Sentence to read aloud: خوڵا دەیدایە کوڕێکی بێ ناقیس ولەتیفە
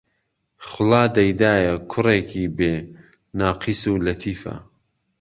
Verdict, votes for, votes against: accepted, 2, 0